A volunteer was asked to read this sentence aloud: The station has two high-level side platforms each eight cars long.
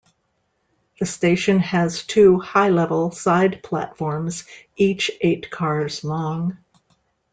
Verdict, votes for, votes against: accepted, 2, 0